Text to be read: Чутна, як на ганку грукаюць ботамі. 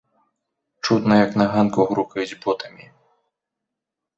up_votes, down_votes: 2, 0